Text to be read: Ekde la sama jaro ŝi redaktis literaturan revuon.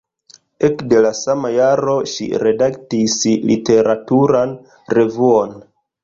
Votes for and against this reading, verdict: 0, 2, rejected